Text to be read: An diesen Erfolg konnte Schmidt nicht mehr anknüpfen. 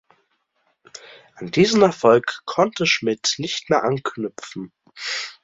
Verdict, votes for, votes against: accepted, 2, 0